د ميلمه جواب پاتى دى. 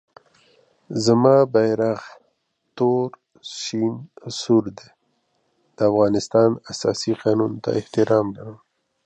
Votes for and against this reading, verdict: 0, 2, rejected